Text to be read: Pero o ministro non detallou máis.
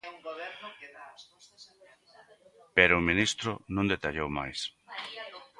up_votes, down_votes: 1, 2